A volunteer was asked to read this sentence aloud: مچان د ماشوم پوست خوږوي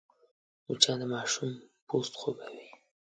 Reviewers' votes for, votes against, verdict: 2, 0, accepted